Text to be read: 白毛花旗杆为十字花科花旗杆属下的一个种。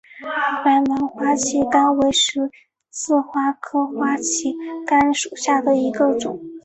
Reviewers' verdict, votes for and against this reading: rejected, 1, 2